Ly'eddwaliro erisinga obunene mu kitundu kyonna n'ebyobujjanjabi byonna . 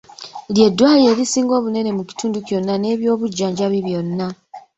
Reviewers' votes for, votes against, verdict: 1, 2, rejected